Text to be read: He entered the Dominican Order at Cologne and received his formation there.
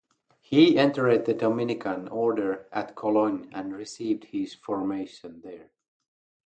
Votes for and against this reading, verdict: 4, 0, accepted